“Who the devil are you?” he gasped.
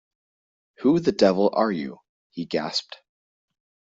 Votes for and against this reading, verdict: 2, 0, accepted